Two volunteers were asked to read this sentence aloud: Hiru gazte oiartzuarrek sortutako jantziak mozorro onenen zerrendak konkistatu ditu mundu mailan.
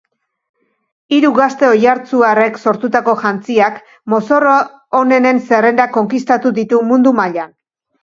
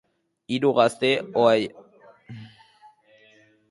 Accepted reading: first